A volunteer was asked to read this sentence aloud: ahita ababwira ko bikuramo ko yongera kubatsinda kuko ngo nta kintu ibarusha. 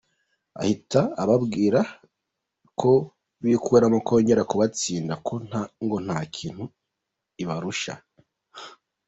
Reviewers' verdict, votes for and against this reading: rejected, 1, 2